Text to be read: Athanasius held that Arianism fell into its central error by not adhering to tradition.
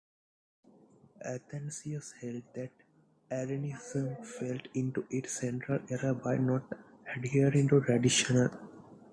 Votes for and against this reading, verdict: 2, 0, accepted